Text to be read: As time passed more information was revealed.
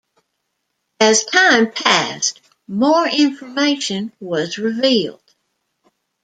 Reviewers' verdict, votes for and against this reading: accepted, 2, 0